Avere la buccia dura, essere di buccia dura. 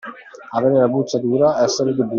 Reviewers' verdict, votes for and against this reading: rejected, 0, 2